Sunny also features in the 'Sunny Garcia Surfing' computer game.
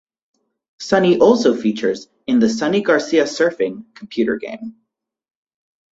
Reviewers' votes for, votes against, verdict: 4, 0, accepted